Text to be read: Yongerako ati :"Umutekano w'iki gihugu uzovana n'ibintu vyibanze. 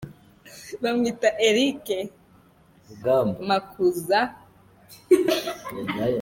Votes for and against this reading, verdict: 0, 2, rejected